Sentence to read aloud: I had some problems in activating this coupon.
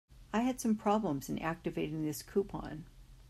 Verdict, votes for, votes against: accepted, 2, 0